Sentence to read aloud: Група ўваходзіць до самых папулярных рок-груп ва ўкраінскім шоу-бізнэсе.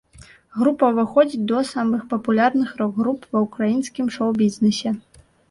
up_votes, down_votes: 0, 2